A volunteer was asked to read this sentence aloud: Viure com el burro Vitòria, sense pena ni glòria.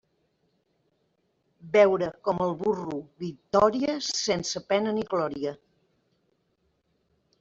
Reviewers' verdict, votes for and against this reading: rejected, 0, 2